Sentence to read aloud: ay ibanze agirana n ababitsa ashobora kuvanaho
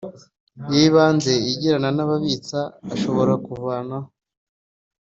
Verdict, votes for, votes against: accepted, 2, 0